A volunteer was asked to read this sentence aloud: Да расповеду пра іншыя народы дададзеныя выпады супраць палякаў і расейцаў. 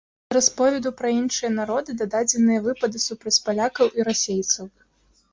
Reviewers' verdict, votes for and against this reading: rejected, 0, 2